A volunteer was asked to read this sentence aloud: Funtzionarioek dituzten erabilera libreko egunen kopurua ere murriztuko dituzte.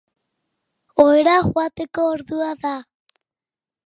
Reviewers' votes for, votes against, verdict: 0, 3, rejected